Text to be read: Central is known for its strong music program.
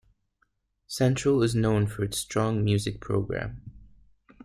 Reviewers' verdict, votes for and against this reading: accepted, 2, 0